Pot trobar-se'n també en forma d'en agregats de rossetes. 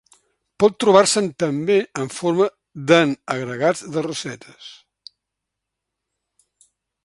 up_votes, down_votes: 2, 0